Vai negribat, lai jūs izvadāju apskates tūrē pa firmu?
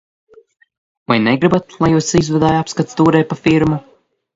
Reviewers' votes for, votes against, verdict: 2, 0, accepted